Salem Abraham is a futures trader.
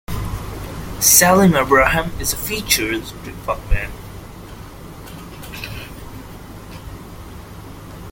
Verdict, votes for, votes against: rejected, 0, 2